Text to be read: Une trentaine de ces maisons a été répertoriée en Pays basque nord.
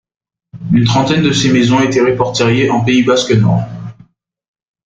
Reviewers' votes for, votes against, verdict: 0, 2, rejected